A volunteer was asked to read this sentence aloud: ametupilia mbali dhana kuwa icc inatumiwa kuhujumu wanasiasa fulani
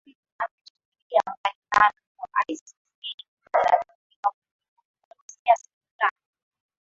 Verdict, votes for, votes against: rejected, 0, 2